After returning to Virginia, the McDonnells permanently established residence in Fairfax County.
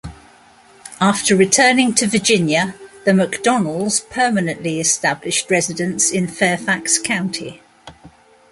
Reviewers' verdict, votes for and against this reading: accepted, 2, 0